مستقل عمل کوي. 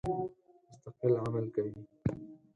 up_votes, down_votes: 2, 4